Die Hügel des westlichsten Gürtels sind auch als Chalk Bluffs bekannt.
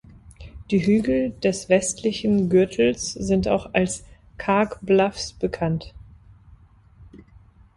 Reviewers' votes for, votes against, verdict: 0, 3, rejected